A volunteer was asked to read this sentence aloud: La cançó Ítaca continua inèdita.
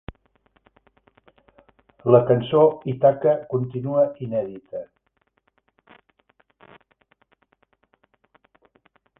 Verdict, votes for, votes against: accepted, 2, 1